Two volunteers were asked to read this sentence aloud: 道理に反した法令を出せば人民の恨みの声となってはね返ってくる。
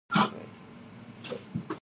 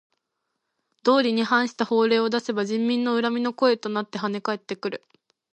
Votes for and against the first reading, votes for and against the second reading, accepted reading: 1, 2, 2, 0, second